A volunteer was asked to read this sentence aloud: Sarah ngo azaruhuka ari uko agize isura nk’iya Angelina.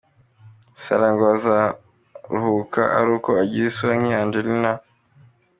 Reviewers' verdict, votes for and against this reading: accepted, 2, 1